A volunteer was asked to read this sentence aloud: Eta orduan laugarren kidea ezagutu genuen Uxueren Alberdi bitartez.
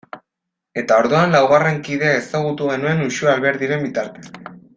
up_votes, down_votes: 2, 0